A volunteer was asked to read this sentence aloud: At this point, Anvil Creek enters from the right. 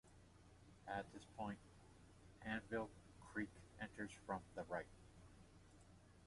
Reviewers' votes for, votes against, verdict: 2, 0, accepted